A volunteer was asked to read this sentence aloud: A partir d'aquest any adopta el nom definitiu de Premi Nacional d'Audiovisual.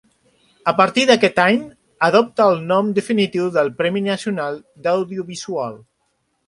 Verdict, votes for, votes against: rejected, 1, 2